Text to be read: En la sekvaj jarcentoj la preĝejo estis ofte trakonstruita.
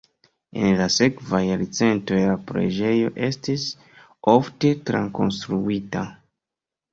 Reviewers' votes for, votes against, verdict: 2, 0, accepted